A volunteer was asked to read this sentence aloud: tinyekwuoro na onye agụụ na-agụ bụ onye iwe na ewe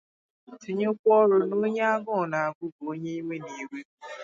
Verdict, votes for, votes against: rejected, 2, 2